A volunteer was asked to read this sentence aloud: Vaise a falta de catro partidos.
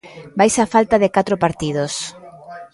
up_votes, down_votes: 0, 2